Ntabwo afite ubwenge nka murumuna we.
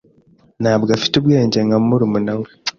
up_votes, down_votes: 2, 0